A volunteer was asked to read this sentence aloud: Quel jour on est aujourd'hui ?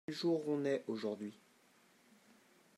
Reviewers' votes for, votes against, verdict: 1, 2, rejected